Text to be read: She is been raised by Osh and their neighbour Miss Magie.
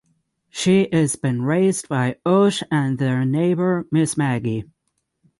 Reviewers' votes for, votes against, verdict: 9, 0, accepted